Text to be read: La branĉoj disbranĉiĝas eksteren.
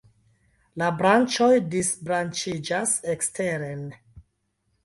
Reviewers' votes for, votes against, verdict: 2, 0, accepted